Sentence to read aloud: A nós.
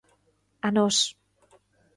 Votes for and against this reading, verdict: 2, 0, accepted